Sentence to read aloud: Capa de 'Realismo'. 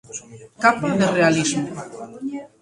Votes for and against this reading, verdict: 1, 2, rejected